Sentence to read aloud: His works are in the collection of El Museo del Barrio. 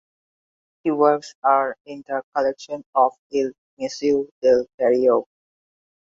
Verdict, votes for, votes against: rejected, 0, 2